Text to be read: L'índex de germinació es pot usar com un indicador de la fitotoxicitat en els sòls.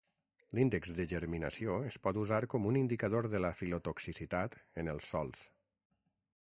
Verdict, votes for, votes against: rejected, 3, 6